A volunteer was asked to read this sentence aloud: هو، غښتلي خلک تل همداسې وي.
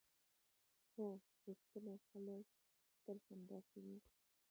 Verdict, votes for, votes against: rejected, 1, 2